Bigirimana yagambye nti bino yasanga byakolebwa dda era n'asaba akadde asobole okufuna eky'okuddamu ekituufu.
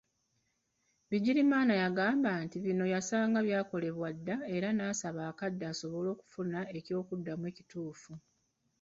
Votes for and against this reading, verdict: 0, 2, rejected